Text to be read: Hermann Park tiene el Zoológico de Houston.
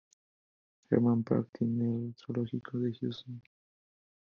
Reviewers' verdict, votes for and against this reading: accepted, 2, 0